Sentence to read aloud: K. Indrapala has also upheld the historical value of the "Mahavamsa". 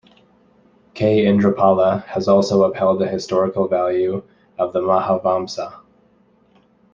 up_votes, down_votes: 2, 1